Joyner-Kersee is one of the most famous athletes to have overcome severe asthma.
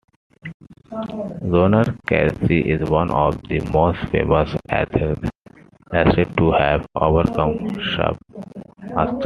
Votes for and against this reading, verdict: 0, 2, rejected